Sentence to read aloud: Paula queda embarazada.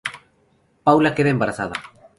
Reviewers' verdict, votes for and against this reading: rejected, 2, 2